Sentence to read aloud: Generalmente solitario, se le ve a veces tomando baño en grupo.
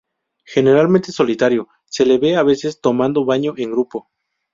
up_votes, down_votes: 2, 2